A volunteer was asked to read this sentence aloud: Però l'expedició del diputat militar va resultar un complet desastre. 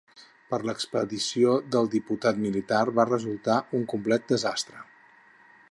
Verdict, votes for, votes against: rejected, 2, 4